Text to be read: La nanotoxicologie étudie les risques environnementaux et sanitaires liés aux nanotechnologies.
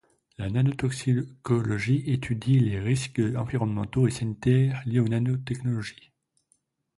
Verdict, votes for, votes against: accepted, 2, 1